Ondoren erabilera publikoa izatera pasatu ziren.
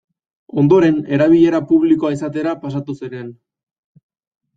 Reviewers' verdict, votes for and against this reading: accepted, 2, 0